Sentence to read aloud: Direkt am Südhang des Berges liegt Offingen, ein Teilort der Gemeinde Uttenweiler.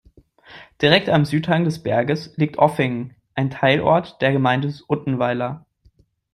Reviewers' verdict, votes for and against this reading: rejected, 1, 2